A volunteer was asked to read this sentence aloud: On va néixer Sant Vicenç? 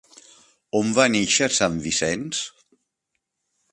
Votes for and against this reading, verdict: 4, 0, accepted